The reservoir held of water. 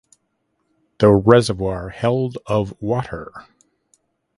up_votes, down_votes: 0, 2